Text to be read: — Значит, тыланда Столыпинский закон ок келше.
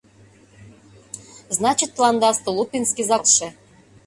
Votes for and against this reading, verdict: 0, 2, rejected